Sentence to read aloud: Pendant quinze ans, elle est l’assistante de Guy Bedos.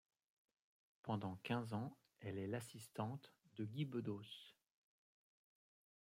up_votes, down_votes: 2, 0